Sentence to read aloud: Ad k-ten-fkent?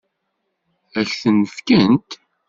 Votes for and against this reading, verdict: 2, 0, accepted